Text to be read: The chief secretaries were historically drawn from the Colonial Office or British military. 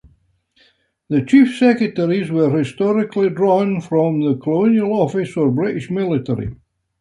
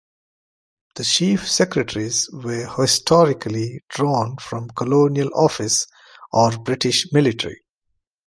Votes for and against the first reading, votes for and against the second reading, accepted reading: 2, 1, 0, 2, first